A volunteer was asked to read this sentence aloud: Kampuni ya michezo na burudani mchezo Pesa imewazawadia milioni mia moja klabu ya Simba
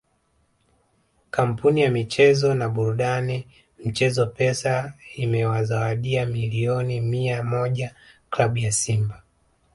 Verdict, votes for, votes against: rejected, 1, 2